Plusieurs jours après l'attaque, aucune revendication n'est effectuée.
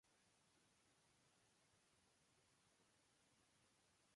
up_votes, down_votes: 0, 2